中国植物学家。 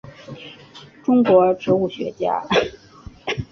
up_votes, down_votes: 3, 1